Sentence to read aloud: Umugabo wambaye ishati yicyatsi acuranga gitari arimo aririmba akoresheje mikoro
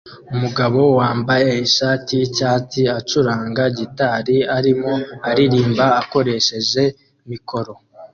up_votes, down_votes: 2, 0